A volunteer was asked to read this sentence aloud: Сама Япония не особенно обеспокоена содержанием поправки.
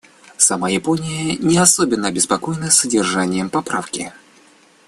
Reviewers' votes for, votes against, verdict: 2, 0, accepted